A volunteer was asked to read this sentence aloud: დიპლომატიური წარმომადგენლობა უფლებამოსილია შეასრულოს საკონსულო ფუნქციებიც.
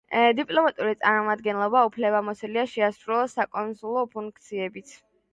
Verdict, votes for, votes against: accepted, 2, 1